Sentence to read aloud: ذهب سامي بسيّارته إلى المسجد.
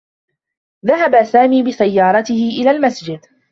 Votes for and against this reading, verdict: 3, 0, accepted